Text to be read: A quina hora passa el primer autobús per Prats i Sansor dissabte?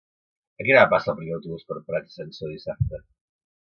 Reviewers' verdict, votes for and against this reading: rejected, 1, 2